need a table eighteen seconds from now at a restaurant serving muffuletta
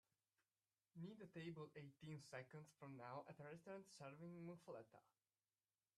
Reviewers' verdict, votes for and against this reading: rejected, 1, 2